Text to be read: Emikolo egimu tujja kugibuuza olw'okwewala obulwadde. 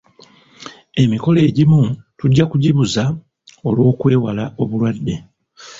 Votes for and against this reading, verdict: 1, 2, rejected